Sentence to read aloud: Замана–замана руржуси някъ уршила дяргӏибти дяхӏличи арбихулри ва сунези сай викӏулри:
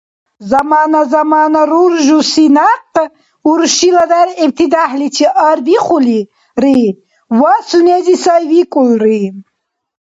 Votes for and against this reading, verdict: 0, 2, rejected